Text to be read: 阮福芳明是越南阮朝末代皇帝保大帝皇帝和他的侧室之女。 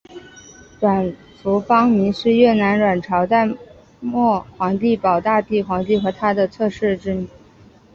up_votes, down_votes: 4, 1